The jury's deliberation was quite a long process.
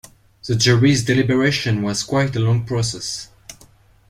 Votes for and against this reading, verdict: 3, 0, accepted